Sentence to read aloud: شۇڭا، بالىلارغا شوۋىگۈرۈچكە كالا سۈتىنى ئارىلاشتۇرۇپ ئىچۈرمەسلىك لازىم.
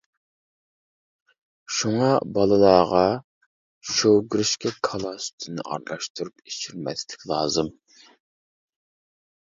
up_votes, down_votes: 0, 2